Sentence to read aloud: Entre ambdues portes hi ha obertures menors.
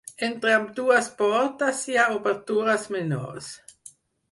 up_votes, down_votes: 6, 0